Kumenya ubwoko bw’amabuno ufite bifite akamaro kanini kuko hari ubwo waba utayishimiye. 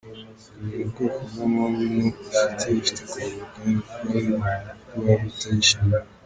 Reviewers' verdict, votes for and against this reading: rejected, 0, 3